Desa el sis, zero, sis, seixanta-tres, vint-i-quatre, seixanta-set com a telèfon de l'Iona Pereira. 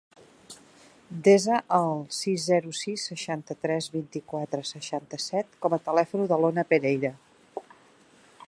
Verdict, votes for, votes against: rejected, 1, 2